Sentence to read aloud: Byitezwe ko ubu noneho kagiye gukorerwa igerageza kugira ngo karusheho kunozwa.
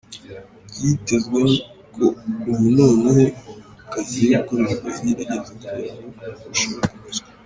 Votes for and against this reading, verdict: 0, 2, rejected